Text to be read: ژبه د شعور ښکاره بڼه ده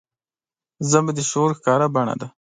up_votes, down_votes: 2, 1